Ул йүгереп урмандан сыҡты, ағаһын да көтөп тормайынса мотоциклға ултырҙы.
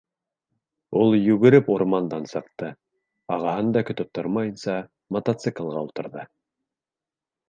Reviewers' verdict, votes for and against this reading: accepted, 2, 0